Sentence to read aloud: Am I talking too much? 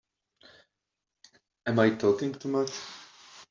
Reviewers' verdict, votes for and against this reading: accepted, 2, 0